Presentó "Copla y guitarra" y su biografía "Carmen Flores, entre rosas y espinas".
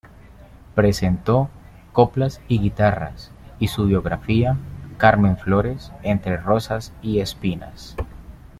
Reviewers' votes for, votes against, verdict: 0, 2, rejected